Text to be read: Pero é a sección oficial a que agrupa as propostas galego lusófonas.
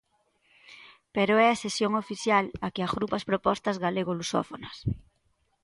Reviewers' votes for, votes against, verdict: 2, 0, accepted